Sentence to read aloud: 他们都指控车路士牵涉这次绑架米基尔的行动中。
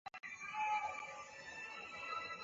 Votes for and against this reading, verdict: 0, 4, rejected